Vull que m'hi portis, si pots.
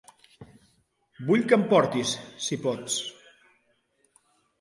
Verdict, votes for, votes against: rejected, 0, 2